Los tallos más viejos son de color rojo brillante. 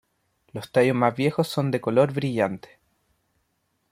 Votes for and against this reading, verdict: 1, 2, rejected